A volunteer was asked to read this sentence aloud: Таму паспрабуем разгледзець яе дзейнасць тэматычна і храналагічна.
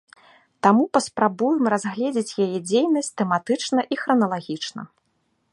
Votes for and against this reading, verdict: 2, 0, accepted